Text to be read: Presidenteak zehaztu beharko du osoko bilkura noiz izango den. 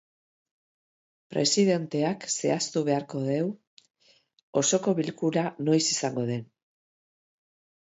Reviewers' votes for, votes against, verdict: 1, 2, rejected